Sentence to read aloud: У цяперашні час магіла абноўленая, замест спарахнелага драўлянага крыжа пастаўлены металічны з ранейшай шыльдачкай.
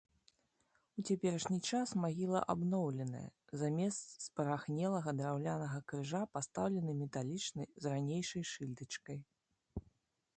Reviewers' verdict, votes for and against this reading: rejected, 1, 2